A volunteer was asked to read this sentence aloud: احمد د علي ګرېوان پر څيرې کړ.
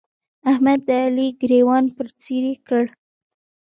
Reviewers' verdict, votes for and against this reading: accepted, 2, 0